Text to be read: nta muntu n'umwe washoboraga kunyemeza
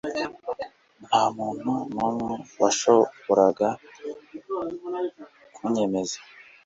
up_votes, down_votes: 2, 0